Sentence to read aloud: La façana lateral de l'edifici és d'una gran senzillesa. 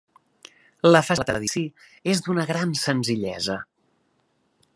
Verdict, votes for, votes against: rejected, 0, 2